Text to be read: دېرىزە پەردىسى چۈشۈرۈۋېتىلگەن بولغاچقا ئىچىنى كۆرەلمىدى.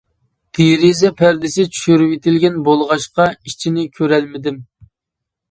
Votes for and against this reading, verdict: 0, 2, rejected